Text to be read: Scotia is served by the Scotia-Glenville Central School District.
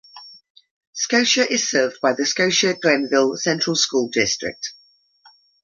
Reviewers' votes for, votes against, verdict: 2, 0, accepted